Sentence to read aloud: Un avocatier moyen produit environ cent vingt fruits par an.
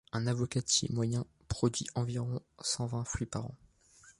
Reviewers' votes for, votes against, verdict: 2, 0, accepted